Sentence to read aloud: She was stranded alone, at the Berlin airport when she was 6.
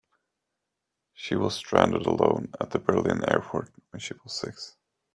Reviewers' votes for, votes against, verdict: 0, 2, rejected